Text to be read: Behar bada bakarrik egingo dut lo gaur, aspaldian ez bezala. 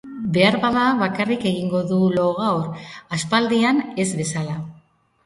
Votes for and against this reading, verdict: 0, 3, rejected